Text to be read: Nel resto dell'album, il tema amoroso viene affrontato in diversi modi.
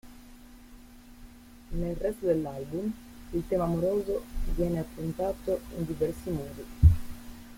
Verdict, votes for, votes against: rejected, 0, 2